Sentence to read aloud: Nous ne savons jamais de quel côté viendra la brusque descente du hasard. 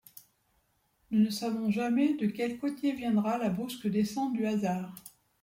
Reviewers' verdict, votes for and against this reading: rejected, 1, 2